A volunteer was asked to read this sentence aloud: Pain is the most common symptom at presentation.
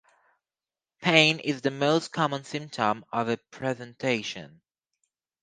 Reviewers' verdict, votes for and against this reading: rejected, 0, 2